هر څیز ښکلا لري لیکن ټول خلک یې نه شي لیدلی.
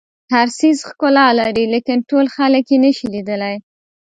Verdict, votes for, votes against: accepted, 2, 0